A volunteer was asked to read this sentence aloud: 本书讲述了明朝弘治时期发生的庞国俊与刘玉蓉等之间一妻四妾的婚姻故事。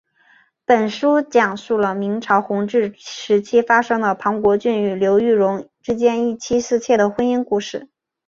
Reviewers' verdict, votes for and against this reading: accepted, 2, 0